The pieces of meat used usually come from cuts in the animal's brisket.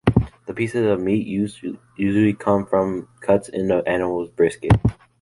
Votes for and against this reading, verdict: 1, 2, rejected